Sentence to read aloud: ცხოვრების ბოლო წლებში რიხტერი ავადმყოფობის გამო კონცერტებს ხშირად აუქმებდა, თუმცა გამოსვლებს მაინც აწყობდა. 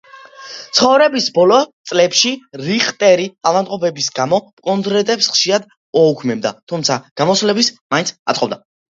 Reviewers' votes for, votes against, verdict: 0, 2, rejected